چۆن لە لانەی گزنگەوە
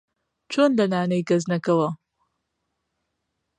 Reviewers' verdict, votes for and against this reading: rejected, 1, 2